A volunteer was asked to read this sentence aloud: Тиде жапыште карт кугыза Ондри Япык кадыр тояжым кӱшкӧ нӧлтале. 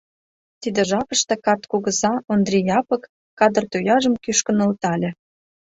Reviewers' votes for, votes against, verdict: 2, 0, accepted